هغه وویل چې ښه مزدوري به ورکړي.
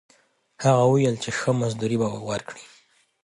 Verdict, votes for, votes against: accepted, 2, 0